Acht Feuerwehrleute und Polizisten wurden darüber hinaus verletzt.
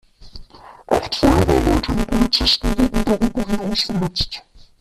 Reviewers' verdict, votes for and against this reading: rejected, 1, 2